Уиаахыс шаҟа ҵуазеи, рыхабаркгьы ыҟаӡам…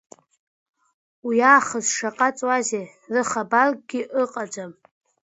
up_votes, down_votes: 2, 0